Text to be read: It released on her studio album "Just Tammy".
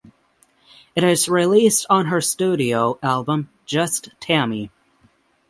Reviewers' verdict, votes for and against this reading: rejected, 0, 6